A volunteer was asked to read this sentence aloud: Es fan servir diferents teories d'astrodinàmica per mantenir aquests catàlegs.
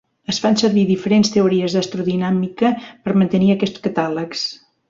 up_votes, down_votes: 2, 0